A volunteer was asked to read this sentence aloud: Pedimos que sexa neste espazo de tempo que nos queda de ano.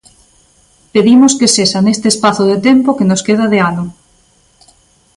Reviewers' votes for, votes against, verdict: 2, 0, accepted